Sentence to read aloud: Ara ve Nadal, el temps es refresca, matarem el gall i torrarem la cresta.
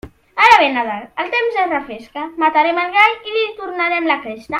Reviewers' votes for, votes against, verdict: 0, 2, rejected